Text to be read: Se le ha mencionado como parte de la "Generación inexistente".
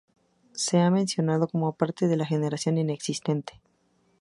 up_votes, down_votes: 2, 2